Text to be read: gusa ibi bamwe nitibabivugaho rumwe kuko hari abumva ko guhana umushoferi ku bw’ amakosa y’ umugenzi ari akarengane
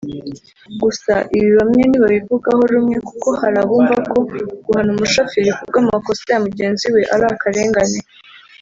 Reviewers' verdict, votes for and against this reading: rejected, 1, 2